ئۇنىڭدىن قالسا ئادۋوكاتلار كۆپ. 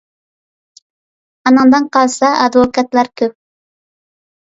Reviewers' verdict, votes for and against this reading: accepted, 2, 0